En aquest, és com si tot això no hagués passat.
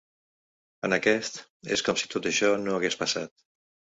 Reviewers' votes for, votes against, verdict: 3, 0, accepted